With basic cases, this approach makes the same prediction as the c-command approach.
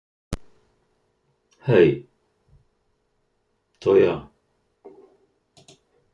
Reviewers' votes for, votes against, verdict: 0, 2, rejected